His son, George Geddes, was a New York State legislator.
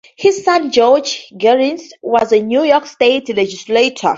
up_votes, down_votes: 2, 0